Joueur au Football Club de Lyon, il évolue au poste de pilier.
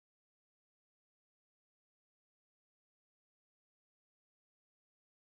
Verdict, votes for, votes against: rejected, 0, 4